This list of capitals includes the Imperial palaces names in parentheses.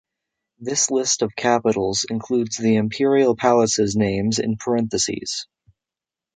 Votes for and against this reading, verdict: 2, 0, accepted